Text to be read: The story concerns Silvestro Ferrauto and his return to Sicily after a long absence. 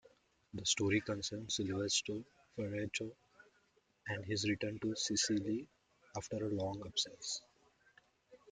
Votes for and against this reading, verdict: 2, 0, accepted